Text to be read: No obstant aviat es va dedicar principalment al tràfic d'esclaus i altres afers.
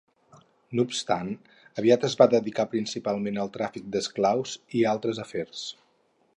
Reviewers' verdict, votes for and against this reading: accepted, 4, 0